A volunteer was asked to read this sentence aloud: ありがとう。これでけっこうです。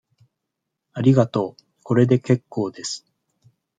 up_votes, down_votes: 2, 0